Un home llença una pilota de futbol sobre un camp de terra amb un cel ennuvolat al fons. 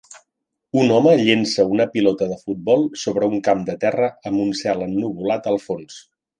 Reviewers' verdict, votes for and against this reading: accepted, 3, 0